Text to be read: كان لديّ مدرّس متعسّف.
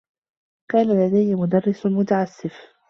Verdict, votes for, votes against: accepted, 2, 0